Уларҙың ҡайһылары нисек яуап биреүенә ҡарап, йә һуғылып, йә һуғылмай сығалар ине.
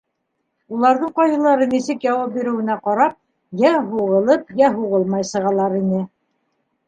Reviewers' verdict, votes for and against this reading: accepted, 2, 0